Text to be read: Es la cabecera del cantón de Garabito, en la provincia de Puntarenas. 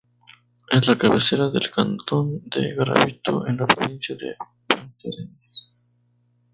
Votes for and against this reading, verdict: 0, 2, rejected